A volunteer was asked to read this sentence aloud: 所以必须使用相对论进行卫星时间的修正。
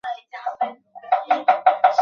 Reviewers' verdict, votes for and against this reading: rejected, 3, 5